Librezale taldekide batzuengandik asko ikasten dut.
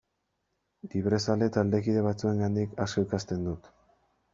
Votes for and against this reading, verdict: 0, 2, rejected